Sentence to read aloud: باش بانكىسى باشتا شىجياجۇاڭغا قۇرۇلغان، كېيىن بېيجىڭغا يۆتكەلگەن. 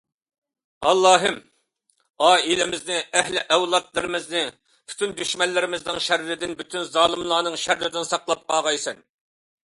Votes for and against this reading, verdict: 0, 2, rejected